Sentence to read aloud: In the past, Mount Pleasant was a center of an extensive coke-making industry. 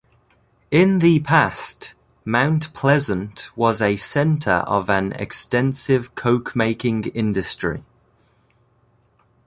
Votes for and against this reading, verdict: 2, 0, accepted